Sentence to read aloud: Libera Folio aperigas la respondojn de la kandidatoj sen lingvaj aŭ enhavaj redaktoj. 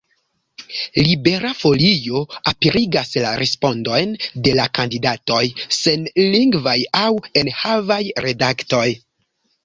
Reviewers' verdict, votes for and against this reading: accepted, 2, 0